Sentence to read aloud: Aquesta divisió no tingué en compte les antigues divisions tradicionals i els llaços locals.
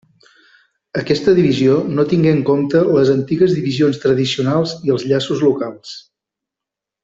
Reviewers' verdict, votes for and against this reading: accepted, 3, 0